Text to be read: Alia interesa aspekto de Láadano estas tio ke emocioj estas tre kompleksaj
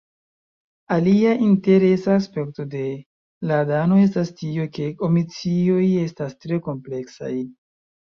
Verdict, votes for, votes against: rejected, 0, 2